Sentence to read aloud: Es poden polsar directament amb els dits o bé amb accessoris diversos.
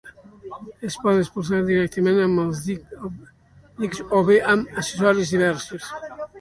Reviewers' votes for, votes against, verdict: 0, 2, rejected